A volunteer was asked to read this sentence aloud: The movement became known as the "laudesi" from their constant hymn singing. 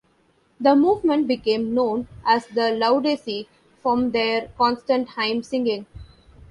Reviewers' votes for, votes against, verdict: 0, 2, rejected